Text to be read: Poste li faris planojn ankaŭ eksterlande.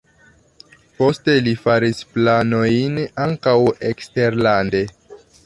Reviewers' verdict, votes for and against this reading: accepted, 2, 0